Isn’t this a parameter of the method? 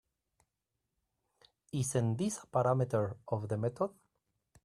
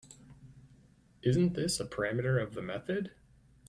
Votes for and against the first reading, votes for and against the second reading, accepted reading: 2, 3, 3, 0, second